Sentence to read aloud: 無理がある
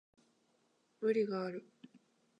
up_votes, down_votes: 2, 0